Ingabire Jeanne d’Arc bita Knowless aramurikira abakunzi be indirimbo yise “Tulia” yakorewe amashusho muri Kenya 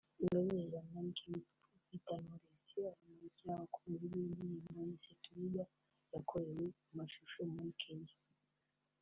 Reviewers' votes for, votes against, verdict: 1, 2, rejected